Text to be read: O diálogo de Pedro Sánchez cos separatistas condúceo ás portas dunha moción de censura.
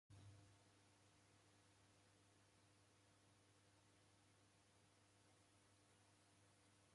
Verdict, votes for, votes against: rejected, 0, 2